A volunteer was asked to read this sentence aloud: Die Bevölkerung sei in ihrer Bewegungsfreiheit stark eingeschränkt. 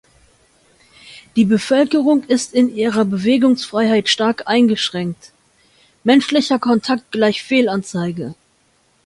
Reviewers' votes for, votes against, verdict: 0, 2, rejected